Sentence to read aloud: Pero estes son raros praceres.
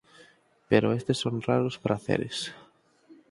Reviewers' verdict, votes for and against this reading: accepted, 4, 0